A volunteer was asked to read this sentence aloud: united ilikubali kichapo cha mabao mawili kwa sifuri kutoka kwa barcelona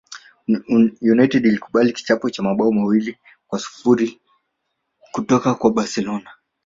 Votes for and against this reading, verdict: 2, 0, accepted